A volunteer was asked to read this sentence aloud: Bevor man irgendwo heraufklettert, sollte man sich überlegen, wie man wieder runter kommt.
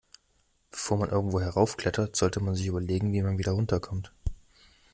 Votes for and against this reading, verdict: 3, 0, accepted